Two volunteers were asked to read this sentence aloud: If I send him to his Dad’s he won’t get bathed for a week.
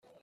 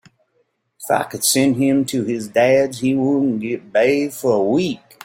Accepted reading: second